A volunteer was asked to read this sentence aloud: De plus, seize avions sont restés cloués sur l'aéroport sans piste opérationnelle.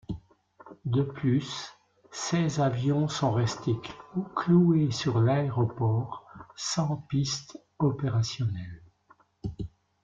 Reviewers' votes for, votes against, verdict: 1, 3, rejected